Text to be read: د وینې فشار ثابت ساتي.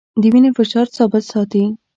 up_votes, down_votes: 2, 0